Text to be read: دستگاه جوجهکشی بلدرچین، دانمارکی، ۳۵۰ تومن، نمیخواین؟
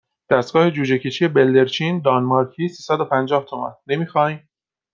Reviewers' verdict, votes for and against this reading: rejected, 0, 2